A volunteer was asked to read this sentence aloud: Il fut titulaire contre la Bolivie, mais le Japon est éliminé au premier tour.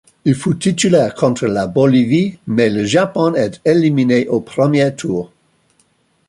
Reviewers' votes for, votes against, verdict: 2, 1, accepted